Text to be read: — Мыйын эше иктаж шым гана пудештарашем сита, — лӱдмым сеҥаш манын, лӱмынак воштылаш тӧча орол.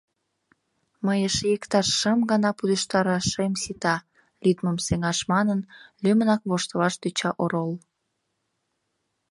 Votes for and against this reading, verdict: 1, 2, rejected